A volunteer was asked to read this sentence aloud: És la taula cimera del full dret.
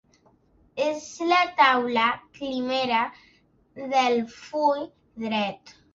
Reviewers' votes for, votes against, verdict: 2, 0, accepted